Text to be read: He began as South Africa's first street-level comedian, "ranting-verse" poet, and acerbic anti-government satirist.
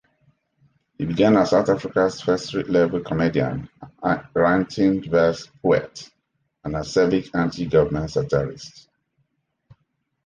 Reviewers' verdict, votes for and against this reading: rejected, 2, 3